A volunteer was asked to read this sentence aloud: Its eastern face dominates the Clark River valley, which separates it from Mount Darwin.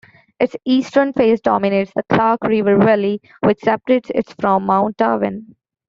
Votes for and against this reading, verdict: 2, 0, accepted